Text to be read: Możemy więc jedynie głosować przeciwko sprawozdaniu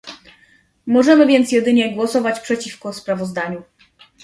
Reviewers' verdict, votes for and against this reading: accepted, 2, 0